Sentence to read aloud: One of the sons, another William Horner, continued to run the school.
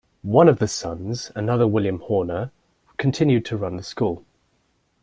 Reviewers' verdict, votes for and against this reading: accepted, 2, 0